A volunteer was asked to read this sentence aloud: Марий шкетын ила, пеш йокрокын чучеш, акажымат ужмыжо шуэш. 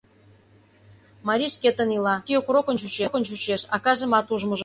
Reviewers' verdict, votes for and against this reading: rejected, 0, 2